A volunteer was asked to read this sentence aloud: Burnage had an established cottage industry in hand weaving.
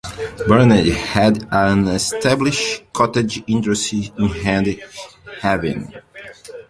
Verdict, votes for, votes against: rejected, 0, 2